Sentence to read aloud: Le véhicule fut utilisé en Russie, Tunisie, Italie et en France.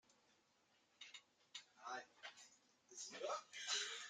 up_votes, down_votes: 0, 2